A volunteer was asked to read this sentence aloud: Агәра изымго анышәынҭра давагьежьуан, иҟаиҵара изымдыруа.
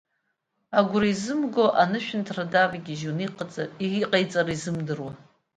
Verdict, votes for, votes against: rejected, 0, 2